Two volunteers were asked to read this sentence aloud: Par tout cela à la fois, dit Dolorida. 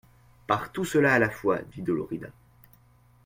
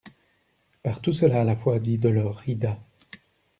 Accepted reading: first